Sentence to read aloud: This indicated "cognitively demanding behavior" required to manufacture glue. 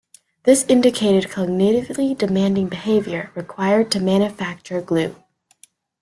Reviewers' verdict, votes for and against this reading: rejected, 0, 2